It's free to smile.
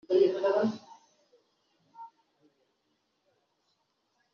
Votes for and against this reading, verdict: 0, 2, rejected